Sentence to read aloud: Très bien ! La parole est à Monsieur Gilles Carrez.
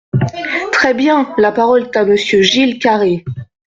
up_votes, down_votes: 0, 2